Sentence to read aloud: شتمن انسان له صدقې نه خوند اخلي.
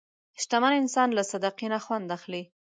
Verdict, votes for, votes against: accepted, 2, 0